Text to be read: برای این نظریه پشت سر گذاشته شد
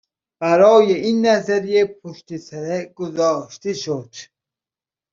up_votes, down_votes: 1, 2